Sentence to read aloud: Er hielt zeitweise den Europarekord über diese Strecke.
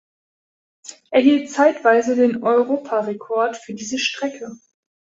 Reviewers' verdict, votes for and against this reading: rejected, 0, 2